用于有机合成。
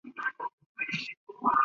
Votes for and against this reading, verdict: 0, 3, rejected